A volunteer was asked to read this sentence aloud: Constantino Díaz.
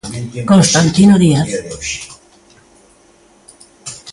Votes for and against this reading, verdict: 1, 2, rejected